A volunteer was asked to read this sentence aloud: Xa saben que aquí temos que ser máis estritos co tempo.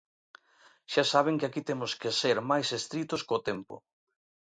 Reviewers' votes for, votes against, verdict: 2, 0, accepted